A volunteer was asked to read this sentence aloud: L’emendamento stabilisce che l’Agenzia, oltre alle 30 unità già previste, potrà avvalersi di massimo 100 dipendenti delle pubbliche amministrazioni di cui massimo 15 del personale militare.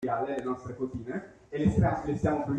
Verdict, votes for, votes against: rejected, 0, 2